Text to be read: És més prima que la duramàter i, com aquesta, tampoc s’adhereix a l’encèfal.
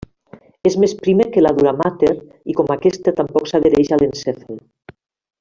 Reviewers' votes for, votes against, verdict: 1, 2, rejected